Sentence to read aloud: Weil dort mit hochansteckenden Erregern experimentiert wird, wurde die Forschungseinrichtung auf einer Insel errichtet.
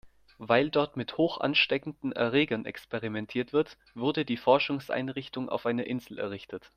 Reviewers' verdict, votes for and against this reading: accepted, 2, 0